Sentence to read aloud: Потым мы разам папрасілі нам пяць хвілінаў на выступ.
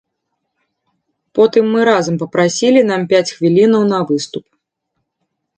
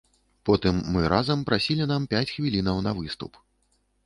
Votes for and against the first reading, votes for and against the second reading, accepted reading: 2, 0, 1, 2, first